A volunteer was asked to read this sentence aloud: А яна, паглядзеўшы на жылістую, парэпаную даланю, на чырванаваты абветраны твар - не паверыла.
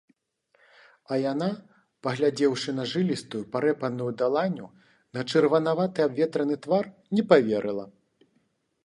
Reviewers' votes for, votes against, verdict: 2, 0, accepted